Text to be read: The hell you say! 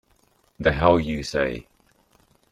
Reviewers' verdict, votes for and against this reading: rejected, 0, 2